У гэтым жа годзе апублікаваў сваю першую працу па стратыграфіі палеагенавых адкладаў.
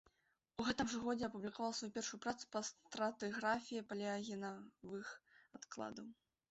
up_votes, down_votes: 2, 3